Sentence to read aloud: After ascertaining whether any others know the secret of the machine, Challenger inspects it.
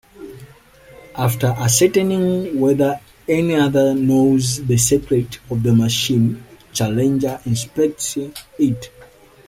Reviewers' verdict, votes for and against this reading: rejected, 1, 2